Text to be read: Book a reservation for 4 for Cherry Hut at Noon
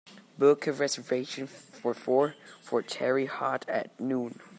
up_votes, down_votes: 0, 2